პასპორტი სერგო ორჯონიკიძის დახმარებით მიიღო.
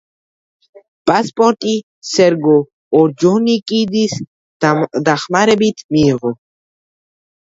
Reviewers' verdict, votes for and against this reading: rejected, 1, 2